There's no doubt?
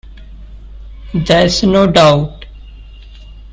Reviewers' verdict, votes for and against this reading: accepted, 2, 0